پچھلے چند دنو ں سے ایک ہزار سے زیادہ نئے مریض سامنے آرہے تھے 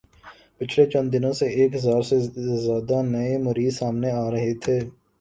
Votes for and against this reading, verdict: 2, 3, rejected